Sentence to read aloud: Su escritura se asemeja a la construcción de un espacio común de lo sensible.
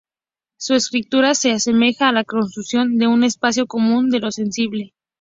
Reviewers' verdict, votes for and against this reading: rejected, 0, 2